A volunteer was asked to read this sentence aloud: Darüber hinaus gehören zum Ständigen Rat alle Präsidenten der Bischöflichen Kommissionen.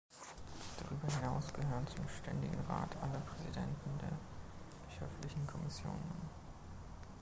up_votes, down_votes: 2, 1